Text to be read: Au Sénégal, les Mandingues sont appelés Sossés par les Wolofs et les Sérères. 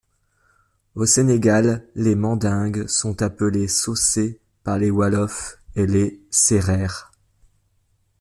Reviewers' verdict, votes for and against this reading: rejected, 0, 2